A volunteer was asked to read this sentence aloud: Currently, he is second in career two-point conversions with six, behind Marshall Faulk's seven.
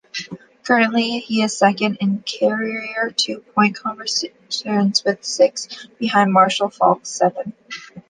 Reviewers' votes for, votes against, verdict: 0, 2, rejected